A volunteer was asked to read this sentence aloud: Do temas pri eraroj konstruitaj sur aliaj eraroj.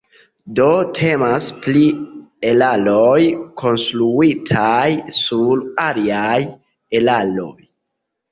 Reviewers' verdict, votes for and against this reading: accepted, 2, 0